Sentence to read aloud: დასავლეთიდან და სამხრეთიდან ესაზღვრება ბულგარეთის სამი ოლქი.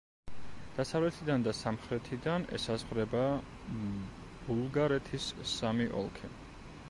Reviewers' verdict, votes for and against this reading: rejected, 1, 2